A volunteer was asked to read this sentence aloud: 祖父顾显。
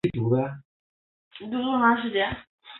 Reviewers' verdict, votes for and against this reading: rejected, 0, 5